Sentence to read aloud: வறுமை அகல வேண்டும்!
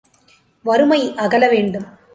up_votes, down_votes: 2, 0